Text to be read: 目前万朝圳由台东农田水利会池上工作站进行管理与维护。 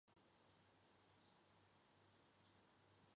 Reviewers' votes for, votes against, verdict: 0, 2, rejected